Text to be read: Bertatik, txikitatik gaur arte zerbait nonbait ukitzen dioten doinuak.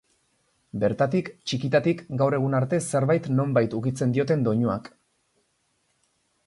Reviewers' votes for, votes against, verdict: 0, 2, rejected